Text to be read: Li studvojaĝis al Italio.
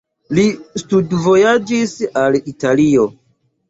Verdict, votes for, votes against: accepted, 2, 0